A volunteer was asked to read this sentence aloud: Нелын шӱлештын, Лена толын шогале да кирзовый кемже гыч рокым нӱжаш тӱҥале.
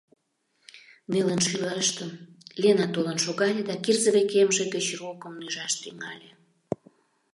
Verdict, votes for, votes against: rejected, 0, 2